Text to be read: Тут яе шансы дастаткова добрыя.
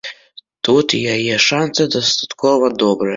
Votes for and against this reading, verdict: 2, 0, accepted